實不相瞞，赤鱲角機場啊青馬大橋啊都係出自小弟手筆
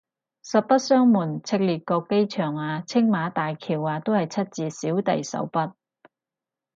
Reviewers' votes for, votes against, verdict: 2, 2, rejected